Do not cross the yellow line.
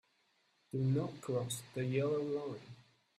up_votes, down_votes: 0, 2